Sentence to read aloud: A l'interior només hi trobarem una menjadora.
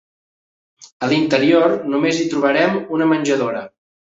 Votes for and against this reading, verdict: 2, 0, accepted